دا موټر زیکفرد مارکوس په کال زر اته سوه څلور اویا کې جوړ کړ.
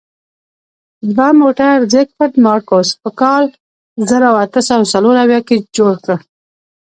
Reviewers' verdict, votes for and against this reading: accepted, 2, 1